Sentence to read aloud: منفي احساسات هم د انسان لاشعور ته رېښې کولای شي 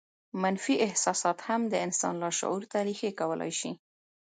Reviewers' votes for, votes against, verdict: 2, 0, accepted